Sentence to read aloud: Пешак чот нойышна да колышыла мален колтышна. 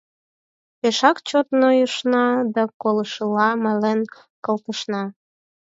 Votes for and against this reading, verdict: 4, 0, accepted